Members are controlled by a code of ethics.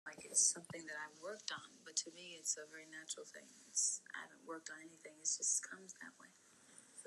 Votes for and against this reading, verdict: 0, 2, rejected